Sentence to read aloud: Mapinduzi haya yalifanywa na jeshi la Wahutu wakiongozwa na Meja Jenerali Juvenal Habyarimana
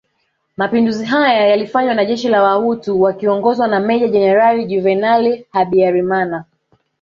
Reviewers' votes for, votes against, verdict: 2, 1, accepted